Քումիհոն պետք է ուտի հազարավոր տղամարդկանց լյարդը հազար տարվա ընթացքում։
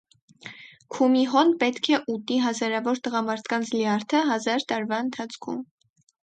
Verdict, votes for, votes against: accepted, 4, 0